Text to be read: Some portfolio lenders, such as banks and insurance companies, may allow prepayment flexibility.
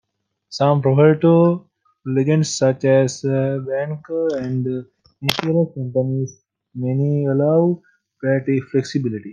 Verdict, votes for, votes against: rejected, 0, 2